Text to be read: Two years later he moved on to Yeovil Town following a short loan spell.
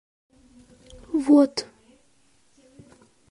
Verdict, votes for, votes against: rejected, 0, 2